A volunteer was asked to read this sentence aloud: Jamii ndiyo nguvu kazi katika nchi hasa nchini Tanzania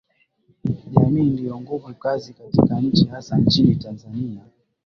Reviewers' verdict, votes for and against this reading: accepted, 9, 0